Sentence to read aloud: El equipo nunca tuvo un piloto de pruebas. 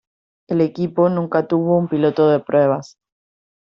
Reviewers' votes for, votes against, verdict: 2, 0, accepted